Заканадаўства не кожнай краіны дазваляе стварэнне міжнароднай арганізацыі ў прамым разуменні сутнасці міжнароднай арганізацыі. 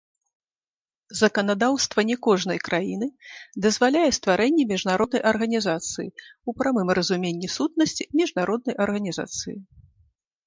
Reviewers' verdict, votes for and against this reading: rejected, 1, 3